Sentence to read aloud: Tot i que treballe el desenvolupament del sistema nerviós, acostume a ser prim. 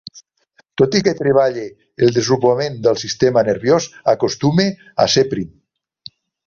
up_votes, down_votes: 3, 2